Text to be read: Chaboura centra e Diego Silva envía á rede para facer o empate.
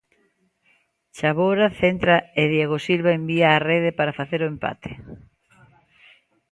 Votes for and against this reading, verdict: 2, 1, accepted